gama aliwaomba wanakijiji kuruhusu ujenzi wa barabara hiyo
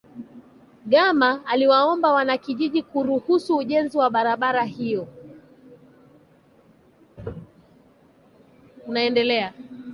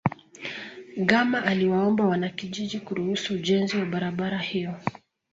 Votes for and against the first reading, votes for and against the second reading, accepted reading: 1, 2, 2, 0, second